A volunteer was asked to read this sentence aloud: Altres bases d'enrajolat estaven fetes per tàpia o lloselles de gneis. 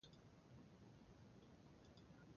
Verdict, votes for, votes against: rejected, 0, 2